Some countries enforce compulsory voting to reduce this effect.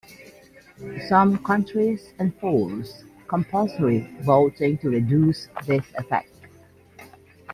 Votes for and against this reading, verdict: 2, 0, accepted